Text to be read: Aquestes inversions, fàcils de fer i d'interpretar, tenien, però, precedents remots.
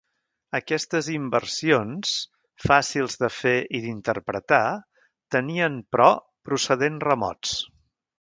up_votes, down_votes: 0, 3